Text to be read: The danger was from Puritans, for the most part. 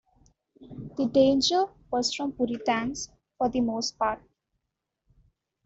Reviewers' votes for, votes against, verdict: 2, 0, accepted